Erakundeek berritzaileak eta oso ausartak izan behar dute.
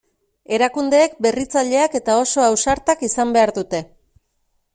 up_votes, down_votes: 2, 0